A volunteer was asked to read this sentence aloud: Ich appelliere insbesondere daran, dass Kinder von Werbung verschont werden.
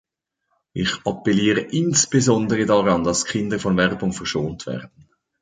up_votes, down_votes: 2, 0